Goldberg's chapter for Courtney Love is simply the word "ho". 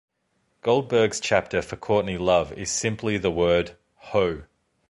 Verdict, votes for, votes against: accepted, 2, 0